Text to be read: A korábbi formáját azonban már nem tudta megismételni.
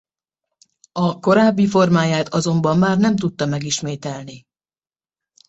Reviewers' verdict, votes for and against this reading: accepted, 2, 0